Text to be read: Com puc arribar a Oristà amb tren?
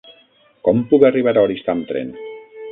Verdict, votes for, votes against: rejected, 3, 6